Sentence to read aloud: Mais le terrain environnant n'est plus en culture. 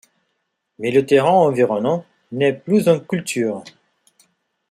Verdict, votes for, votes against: accepted, 2, 0